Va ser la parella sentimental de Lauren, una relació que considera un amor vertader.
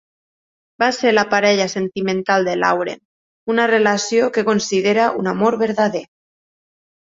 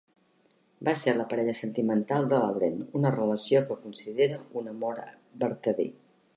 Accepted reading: second